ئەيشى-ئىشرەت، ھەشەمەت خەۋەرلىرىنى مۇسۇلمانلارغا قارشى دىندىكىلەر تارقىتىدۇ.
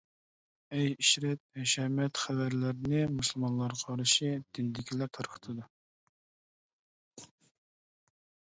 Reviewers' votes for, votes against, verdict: 0, 2, rejected